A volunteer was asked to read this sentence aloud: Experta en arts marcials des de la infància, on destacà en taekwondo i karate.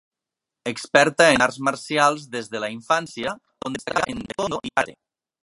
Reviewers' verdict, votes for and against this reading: rejected, 0, 2